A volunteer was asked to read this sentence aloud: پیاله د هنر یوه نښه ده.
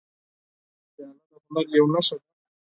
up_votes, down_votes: 0, 4